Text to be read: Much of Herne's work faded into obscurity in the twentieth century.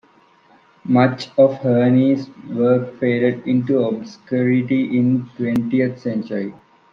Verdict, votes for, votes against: rejected, 1, 2